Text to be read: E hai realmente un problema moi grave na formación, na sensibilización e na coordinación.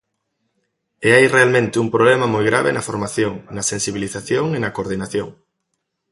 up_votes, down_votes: 2, 0